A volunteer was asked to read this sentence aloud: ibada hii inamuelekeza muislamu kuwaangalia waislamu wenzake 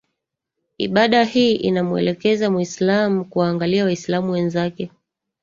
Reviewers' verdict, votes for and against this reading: rejected, 1, 2